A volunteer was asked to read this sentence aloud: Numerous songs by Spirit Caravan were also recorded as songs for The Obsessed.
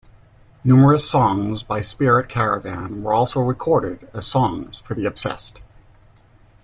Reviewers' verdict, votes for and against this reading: accepted, 2, 0